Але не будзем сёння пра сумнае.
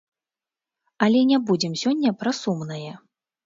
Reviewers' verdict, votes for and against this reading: rejected, 1, 2